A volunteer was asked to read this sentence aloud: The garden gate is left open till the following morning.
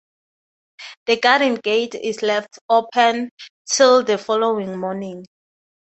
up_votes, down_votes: 6, 0